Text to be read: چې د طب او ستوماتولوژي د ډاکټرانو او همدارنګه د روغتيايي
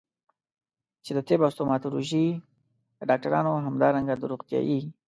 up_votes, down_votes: 2, 0